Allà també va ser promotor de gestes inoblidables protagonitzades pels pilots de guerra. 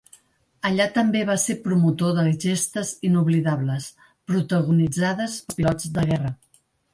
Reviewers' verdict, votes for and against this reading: rejected, 0, 2